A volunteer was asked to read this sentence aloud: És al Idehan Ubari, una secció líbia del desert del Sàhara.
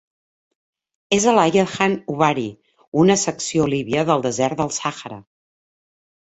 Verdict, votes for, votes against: rejected, 1, 2